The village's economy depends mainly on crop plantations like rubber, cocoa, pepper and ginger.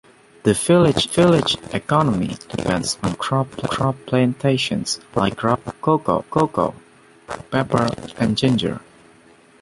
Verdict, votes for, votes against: rejected, 0, 2